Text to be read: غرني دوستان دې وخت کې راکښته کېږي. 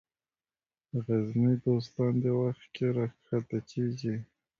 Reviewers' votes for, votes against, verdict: 2, 0, accepted